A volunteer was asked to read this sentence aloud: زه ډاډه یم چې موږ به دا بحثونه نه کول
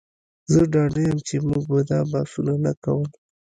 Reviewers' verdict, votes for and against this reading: rejected, 1, 2